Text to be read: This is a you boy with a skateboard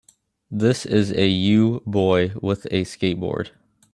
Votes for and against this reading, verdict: 2, 0, accepted